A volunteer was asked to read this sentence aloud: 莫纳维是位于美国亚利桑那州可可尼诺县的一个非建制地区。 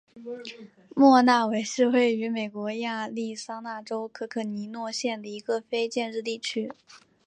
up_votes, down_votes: 2, 0